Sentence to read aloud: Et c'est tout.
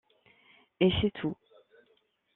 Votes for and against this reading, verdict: 2, 0, accepted